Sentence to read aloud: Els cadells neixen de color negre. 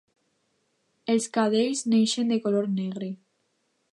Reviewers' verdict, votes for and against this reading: accepted, 2, 0